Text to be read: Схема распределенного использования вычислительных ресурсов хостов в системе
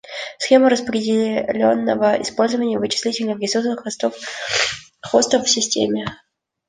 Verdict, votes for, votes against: rejected, 0, 3